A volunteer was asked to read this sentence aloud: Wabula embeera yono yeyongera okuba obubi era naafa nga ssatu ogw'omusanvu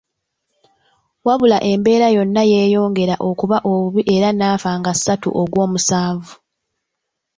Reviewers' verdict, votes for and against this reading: rejected, 1, 2